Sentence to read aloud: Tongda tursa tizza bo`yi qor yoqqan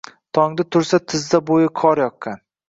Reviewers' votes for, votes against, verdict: 2, 0, accepted